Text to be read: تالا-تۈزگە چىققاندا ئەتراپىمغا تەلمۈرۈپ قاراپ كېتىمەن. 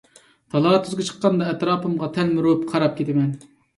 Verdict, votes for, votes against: accepted, 2, 0